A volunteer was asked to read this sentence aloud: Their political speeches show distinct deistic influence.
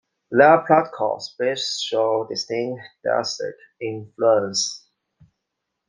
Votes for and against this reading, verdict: 2, 1, accepted